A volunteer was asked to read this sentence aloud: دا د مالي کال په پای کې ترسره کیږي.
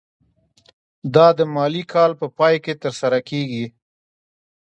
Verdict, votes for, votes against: rejected, 1, 2